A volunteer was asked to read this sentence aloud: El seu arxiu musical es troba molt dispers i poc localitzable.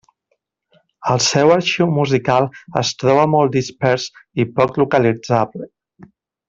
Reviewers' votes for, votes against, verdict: 3, 0, accepted